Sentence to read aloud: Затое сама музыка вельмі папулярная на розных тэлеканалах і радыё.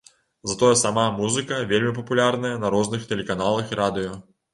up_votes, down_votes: 2, 0